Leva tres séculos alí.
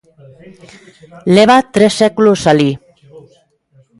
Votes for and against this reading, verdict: 1, 2, rejected